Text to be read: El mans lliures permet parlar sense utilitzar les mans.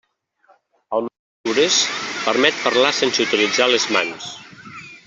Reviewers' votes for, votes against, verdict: 1, 2, rejected